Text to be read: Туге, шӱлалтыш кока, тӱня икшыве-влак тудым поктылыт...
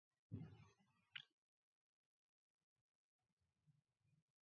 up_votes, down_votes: 1, 2